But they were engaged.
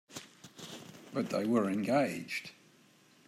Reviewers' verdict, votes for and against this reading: accepted, 2, 0